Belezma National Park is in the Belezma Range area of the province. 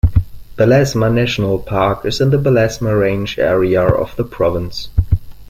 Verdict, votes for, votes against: accepted, 2, 0